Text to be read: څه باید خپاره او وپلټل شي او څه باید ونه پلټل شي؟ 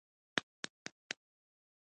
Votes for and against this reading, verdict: 1, 2, rejected